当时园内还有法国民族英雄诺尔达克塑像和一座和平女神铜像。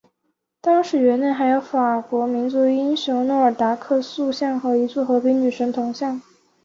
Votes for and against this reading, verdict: 6, 2, accepted